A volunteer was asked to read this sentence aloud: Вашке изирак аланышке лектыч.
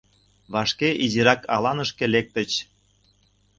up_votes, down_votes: 2, 0